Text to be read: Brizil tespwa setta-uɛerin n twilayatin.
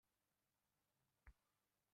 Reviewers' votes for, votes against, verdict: 0, 2, rejected